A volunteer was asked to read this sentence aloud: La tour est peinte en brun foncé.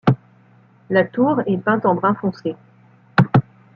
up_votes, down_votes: 2, 0